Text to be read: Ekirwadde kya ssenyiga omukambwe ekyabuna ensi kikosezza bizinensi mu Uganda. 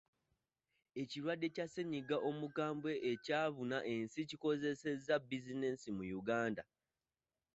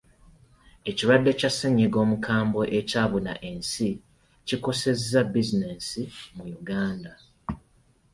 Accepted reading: second